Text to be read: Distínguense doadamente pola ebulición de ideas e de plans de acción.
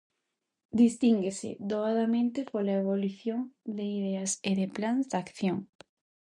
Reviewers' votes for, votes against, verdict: 2, 0, accepted